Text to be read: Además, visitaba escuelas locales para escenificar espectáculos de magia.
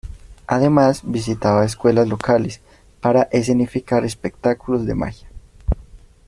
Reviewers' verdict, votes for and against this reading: accepted, 2, 0